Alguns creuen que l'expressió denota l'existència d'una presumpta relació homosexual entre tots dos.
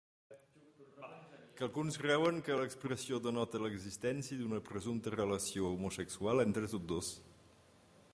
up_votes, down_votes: 0, 2